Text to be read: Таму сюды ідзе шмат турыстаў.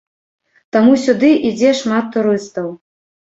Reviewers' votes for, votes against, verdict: 2, 0, accepted